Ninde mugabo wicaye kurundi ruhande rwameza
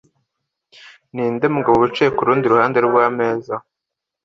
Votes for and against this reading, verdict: 2, 0, accepted